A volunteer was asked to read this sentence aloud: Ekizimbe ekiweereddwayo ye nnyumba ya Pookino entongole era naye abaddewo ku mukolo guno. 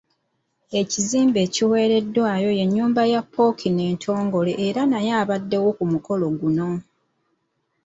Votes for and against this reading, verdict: 2, 1, accepted